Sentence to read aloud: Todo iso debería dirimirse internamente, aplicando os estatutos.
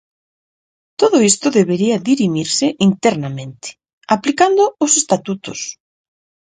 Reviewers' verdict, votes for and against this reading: rejected, 2, 2